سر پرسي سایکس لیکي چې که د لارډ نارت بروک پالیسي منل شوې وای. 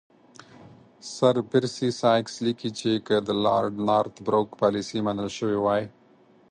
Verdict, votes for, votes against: accepted, 4, 0